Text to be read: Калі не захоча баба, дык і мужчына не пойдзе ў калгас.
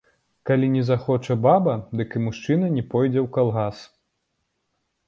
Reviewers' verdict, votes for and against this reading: rejected, 1, 2